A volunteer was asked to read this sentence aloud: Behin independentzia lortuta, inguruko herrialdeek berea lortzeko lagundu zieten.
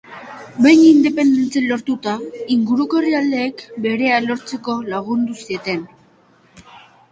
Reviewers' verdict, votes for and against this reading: accepted, 2, 1